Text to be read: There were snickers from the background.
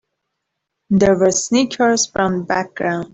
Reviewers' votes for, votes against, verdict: 1, 12, rejected